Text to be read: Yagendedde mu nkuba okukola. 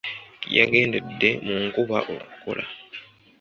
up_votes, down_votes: 2, 0